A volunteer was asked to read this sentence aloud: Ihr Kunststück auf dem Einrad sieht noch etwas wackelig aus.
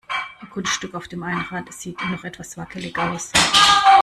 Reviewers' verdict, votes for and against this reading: rejected, 0, 2